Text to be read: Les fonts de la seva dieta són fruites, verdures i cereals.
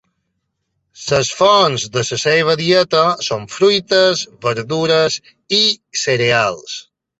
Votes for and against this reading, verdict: 0, 2, rejected